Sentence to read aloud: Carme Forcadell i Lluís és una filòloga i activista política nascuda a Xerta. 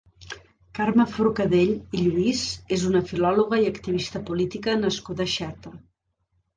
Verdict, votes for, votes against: accepted, 2, 0